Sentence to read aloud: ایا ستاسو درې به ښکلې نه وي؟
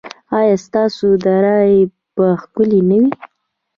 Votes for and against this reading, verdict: 0, 2, rejected